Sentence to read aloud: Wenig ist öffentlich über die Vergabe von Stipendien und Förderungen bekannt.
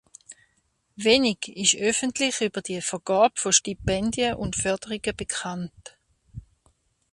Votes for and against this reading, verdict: 2, 0, accepted